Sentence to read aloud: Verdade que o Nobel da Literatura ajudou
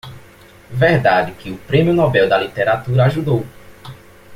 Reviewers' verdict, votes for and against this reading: rejected, 0, 2